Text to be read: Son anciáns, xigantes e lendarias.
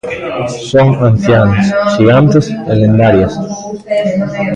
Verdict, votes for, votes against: rejected, 0, 2